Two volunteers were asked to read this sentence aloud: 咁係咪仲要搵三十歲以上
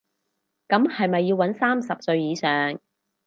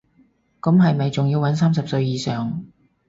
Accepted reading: second